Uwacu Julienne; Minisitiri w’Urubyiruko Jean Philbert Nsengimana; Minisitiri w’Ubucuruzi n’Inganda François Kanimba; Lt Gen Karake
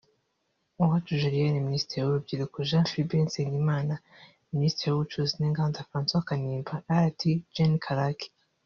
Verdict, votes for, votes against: rejected, 1, 2